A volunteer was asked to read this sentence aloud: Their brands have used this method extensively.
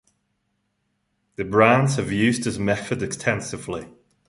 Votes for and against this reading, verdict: 1, 2, rejected